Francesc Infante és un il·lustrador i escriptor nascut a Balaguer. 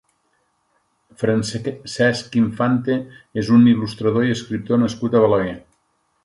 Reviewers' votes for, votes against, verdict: 1, 2, rejected